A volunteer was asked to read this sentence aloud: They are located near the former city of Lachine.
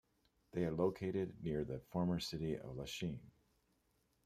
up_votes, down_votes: 2, 0